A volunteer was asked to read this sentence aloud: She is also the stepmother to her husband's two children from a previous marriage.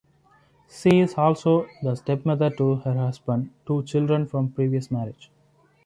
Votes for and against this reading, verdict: 0, 2, rejected